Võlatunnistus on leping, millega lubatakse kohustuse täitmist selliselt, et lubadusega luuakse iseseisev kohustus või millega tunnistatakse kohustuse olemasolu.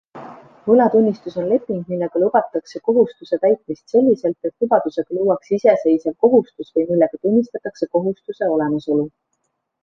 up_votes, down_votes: 3, 2